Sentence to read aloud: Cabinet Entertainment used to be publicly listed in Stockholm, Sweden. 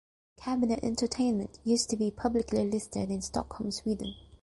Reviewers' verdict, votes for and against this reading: accepted, 2, 1